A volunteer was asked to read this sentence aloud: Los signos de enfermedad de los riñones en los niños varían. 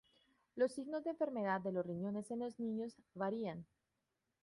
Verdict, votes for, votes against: accepted, 2, 1